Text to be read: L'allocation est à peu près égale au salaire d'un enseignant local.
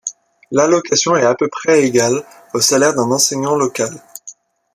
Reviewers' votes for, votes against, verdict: 2, 0, accepted